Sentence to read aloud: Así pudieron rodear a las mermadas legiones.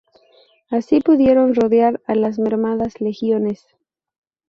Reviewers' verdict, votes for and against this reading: accepted, 2, 0